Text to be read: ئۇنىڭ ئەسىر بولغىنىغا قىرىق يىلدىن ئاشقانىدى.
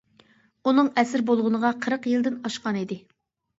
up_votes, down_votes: 3, 0